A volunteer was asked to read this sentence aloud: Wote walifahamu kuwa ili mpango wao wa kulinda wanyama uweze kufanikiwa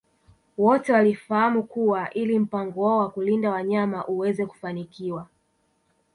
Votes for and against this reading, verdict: 3, 1, accepted